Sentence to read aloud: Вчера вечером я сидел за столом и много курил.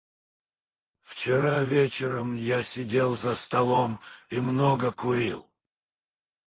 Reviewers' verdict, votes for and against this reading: rejected, 2, 4